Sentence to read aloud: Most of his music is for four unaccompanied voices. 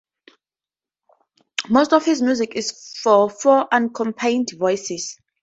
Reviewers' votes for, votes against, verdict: 2, 10, rejected